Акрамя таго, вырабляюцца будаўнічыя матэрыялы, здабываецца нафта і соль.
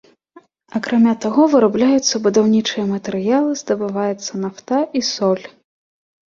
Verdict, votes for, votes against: rejected, 1, 2